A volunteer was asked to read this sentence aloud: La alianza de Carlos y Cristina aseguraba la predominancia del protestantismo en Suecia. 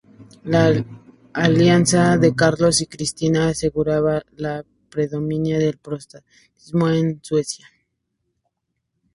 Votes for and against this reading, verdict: 2, 0, accepted